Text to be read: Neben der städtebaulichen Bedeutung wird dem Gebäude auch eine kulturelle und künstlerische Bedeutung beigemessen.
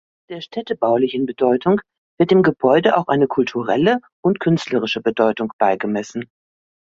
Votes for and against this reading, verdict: 1, 3, rejected